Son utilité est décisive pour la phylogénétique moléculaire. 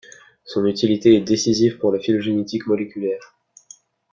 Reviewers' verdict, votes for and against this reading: accepted, 2, 0